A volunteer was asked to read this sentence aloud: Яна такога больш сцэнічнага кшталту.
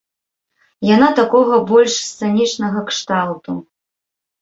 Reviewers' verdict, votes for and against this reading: accepted, 2, 0